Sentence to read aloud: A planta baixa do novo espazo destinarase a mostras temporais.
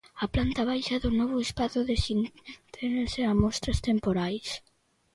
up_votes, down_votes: 0, 2